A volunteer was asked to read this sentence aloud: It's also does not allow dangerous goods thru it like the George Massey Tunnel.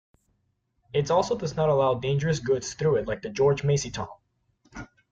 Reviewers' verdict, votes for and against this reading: rejected, 1, 2